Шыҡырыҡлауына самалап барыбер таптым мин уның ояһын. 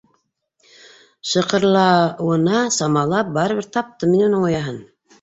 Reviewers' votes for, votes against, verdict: 1, 2, rejected